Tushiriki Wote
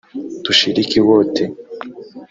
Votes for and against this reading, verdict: 1, 2, rejected